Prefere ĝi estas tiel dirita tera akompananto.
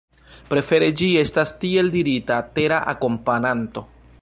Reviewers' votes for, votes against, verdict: 1, 2, rejected